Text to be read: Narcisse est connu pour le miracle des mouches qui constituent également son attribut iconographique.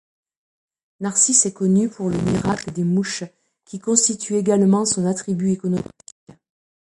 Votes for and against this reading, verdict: 0, 2, rejected